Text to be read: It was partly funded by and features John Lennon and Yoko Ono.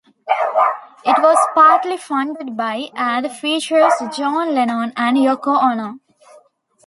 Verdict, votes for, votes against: rejected, 0, 2